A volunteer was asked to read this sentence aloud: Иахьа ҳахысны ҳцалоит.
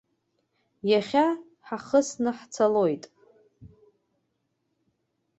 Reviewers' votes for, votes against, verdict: 2, 0, accepted